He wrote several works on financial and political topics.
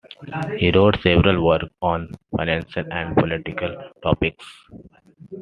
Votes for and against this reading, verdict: 2, 0, accepted